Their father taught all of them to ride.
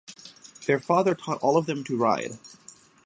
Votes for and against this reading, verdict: 6, 0, accepted